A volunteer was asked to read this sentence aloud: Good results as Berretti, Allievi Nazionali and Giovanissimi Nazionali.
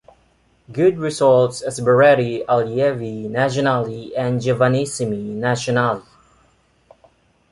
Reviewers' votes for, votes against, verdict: 2, 0, accepted